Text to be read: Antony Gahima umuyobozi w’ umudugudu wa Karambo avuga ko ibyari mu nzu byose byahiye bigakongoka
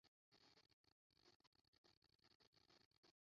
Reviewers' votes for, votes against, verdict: 0, 2, rejected